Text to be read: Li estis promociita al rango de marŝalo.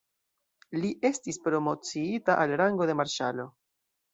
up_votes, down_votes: 1, 2